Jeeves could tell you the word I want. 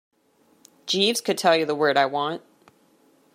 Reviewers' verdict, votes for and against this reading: accepted, 2, 0